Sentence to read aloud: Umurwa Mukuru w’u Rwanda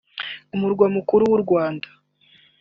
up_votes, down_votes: 4, 0